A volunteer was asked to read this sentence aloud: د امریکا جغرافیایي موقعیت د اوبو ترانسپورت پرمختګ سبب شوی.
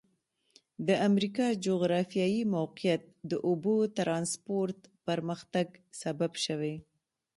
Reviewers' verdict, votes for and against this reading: rejected, 1, 2